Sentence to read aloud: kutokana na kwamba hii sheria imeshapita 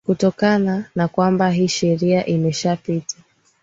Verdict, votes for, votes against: accepted, 3, 0